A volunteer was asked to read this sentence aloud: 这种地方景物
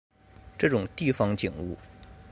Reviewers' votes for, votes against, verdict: 2, 0, accepted